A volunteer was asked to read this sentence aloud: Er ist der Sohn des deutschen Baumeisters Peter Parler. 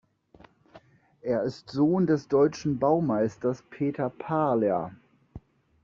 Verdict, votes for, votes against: rejected, 0, 2